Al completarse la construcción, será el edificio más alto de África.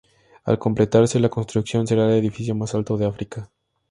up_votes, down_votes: 2, 0